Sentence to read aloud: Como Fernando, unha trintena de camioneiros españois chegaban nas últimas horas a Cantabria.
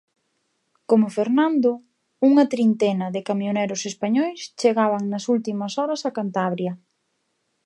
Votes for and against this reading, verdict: 0, 2, rejected